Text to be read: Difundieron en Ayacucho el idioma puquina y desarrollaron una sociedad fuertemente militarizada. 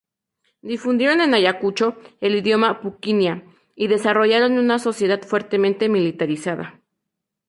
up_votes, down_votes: 2, 0